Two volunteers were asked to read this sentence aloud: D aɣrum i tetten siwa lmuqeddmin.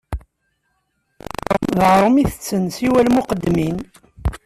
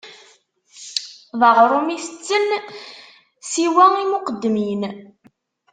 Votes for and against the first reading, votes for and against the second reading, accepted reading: 2, 0, 1, 2, first